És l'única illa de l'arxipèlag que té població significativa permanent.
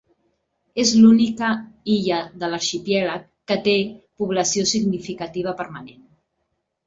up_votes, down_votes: 2, 0